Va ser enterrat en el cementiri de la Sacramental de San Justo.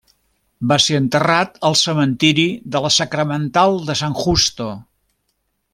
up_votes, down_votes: 1, 2